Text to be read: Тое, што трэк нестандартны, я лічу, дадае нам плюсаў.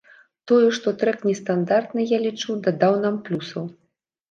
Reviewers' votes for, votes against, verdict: 1, 2, rejected